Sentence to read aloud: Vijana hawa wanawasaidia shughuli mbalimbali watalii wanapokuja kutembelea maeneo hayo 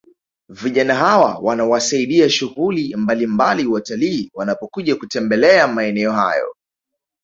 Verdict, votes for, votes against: rejected, 0, 2